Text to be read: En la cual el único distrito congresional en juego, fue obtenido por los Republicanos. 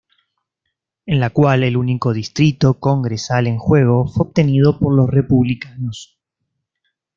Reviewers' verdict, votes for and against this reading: rejected, 0, 2